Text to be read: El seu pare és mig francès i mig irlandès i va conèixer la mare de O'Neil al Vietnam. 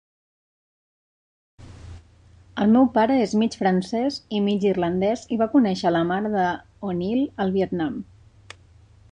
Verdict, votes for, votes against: rejected, 0, 2